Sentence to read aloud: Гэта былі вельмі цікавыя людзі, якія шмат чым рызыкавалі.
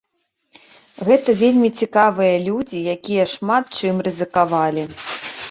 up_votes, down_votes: 1, 3